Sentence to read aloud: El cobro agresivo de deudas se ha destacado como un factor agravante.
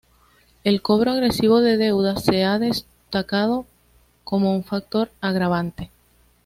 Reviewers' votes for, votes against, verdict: 2, 0, accepted